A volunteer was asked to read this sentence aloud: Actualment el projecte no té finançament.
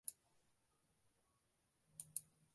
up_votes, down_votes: 0, 2